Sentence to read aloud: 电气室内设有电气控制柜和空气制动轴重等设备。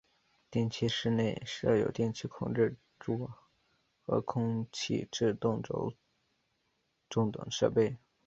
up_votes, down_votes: 1, 3